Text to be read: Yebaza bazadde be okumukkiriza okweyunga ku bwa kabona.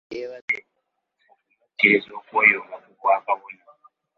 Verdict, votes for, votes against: rejected, 0, 2